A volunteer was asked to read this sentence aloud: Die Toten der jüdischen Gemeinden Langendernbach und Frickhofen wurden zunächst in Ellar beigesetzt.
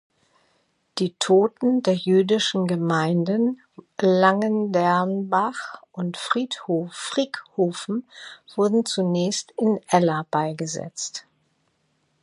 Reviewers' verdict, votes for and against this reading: rejected, 0, 2